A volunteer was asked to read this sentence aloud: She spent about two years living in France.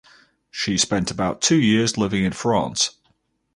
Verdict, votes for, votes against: rejected, 2, 2